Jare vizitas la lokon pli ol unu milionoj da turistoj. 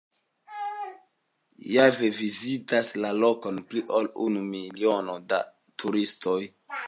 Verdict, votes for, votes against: accepted, 3, 0